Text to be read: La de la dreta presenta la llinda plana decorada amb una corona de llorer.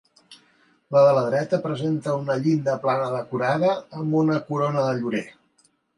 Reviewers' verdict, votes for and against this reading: rejected, 0, 2